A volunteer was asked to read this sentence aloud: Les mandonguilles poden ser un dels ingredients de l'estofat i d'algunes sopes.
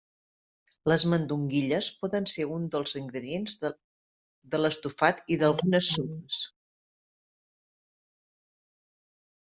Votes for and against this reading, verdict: 0, 2, rejected